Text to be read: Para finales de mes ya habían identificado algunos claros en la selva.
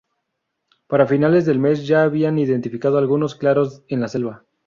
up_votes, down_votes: 0, 2